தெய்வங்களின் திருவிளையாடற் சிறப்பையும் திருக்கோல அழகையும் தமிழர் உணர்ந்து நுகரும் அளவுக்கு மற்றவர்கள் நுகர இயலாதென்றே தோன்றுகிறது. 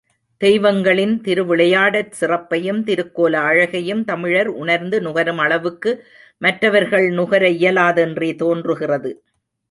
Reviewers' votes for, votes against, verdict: 3, 0, accepted